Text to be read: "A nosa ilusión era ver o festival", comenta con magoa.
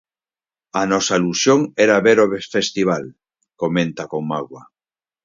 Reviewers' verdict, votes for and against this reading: rejected, 2, 4